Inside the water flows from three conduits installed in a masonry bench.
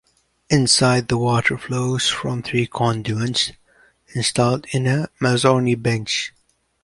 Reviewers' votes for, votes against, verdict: 2, 3, rejected